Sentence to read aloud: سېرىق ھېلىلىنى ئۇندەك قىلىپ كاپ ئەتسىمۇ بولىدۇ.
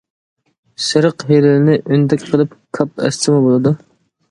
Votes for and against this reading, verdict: 0, 2, rejected